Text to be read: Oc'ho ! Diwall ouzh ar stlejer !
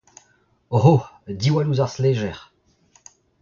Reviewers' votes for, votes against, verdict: 2, 1, accepted